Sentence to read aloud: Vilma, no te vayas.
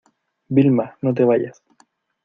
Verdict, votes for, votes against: accepted, 2, 0